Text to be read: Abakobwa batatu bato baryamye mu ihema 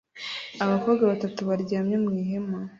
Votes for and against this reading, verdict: 1, 2, rejected